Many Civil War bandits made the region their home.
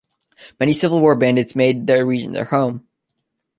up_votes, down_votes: 2, 0